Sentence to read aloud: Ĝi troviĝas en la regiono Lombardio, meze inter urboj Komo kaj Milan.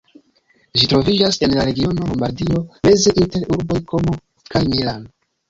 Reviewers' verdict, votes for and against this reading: rejected, 1, 2